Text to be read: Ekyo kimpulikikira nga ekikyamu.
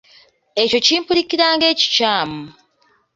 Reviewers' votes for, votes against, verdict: 0, 2, rejected